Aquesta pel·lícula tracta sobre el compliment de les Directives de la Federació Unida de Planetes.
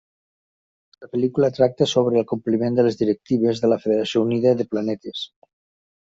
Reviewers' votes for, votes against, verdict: 1, 2, rejected